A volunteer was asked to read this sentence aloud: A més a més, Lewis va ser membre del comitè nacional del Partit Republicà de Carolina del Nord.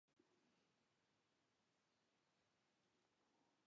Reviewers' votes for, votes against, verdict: 0, 3, rejected